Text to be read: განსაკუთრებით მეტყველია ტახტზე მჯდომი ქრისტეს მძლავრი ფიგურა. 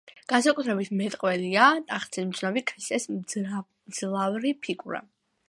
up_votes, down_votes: 1, 2